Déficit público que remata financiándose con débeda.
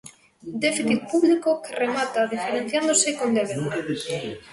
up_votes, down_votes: 0, 2